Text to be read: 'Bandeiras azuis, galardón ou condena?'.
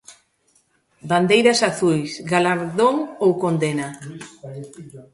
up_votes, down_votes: 1, 2